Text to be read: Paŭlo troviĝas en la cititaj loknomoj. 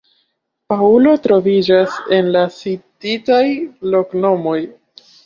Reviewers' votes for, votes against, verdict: 1, 2, rejected